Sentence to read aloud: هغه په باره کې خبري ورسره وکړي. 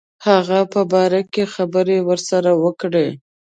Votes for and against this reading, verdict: 2, 1, accepted